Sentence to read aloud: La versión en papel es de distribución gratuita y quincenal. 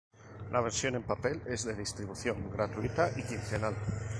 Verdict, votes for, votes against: accepted, 2, 0